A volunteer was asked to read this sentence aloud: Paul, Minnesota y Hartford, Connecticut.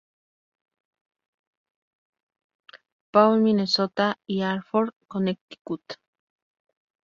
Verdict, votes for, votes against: accepted, 2, 0